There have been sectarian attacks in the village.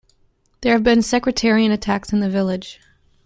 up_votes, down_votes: 1, 2